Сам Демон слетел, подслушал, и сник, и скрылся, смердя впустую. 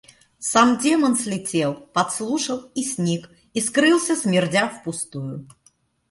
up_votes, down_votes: 2, 0